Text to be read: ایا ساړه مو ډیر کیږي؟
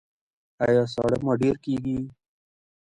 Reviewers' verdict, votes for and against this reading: accepted, 2, 1